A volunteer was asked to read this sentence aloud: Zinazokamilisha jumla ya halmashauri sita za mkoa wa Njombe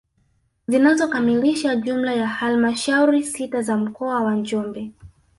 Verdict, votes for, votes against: rejected, 1, 2